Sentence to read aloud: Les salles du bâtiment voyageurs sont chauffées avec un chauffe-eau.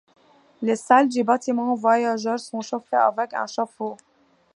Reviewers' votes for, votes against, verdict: 2, 0, accepted